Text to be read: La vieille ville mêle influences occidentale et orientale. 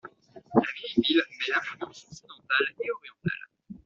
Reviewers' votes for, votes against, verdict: 1, 2, rejected